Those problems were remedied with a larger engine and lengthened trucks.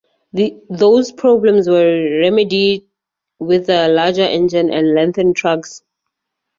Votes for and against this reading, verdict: 0, 2, rejected